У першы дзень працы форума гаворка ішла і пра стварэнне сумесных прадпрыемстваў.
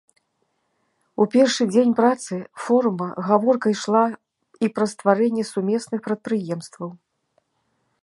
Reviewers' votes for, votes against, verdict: 2, 0, accepted